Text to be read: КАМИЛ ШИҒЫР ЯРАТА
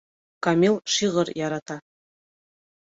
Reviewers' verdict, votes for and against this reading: accepted, 2, 0